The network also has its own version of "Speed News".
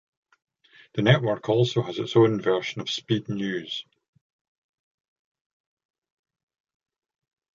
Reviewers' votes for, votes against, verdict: 0, 2, rejected